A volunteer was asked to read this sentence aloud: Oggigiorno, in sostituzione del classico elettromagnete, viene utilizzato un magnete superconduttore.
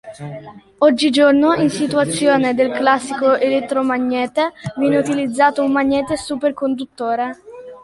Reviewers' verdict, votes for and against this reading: accepted, 2, 0